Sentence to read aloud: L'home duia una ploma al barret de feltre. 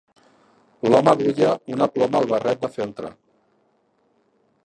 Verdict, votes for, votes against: rejected, 1, 2